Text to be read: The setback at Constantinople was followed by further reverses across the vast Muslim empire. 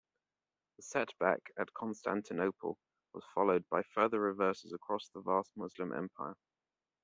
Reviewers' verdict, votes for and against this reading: rejected, 1, 2